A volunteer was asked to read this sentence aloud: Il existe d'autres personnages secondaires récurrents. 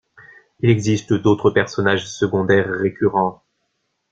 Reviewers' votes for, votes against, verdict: 1, 2, rejected